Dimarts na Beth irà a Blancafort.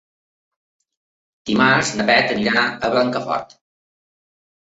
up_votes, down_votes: 1, 2